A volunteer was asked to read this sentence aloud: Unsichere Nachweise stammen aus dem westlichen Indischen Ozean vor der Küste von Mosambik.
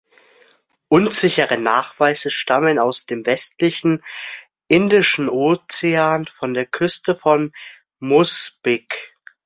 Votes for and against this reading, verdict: 0, 2, rejected